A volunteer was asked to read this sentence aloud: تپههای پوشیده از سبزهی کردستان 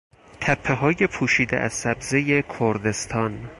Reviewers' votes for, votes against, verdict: 4, 0, accepted